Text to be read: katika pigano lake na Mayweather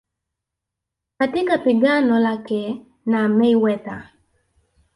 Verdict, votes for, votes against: accepted, 2, 0